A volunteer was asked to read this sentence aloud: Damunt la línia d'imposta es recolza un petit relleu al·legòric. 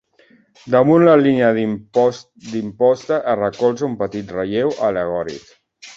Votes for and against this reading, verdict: 0, 2, rejected